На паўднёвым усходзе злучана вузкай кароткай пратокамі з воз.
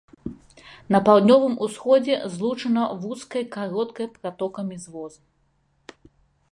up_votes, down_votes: 2, 1